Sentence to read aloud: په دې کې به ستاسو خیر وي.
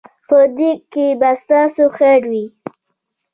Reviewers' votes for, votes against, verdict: 1, 2, rejected